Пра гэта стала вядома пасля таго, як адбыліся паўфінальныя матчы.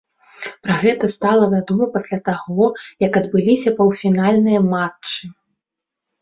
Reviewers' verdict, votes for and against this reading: accepted, 2, 0